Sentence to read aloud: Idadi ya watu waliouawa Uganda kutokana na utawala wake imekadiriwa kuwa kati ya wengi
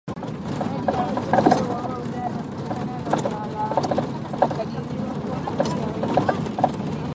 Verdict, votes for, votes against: rejected, 0, 3